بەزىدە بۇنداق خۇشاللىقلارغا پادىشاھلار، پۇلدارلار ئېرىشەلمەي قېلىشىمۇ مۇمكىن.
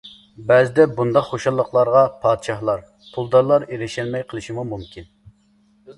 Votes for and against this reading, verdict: 2, 0, accepted